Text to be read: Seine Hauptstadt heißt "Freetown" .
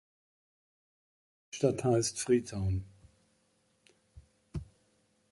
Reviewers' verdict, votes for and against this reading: rejected, 0, 2